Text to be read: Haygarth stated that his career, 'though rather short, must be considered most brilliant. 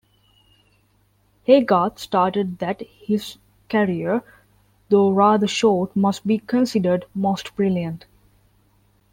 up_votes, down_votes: 1, 2